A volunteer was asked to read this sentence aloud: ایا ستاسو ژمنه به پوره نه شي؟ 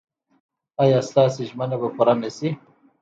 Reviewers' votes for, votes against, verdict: 2, 0, accepted